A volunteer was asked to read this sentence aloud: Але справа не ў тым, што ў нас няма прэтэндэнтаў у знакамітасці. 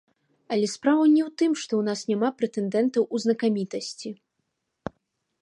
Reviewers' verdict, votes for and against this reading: accepted, 2, 0